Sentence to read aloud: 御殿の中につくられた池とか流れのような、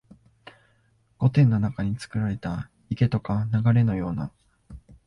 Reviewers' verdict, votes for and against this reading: accepted, 3, 0